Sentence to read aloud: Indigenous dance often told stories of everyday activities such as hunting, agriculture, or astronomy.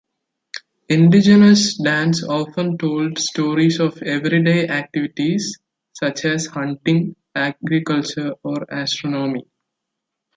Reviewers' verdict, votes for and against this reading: accepted, 2, 0